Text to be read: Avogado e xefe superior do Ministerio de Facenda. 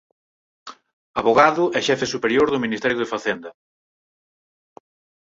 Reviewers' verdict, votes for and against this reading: accepted, 4, 2